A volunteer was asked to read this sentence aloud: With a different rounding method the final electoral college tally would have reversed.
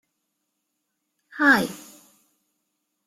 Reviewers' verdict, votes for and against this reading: rejected, 0, 2